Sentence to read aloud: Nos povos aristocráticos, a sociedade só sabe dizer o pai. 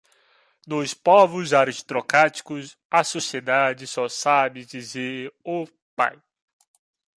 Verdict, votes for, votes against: accepted, 2, 1